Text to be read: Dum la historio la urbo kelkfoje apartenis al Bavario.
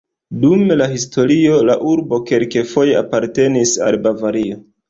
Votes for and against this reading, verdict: 0, 3, rejected